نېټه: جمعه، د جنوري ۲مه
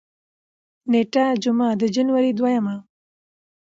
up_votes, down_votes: 0, 2